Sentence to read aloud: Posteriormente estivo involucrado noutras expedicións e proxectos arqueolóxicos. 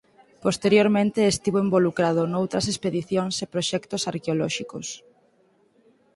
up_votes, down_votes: 4, 0